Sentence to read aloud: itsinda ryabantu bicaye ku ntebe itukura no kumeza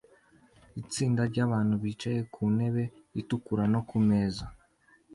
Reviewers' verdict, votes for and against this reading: accepted, 2, 0